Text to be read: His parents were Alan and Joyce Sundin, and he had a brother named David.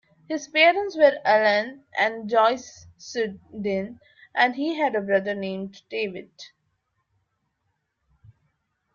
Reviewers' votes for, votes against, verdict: 0, 2, rejected